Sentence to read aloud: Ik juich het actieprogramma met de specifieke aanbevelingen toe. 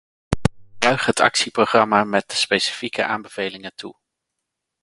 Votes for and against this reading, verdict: 0, 2, rejected